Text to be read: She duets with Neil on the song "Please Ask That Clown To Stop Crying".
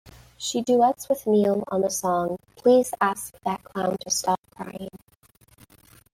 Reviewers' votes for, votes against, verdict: 1, 2, rejected